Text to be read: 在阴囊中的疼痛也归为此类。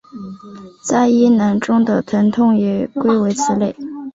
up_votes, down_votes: 2, 1